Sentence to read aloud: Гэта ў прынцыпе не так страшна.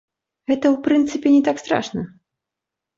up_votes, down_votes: 0, 2